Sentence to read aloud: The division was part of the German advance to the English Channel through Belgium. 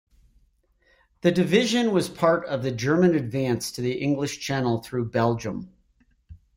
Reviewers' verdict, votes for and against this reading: accepted, 2, 0